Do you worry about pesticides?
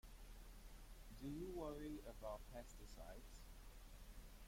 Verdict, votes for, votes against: rejected, 1, 2